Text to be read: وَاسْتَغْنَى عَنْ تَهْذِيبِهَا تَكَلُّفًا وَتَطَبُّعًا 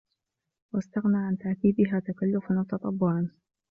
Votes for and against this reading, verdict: 2, 0, accepted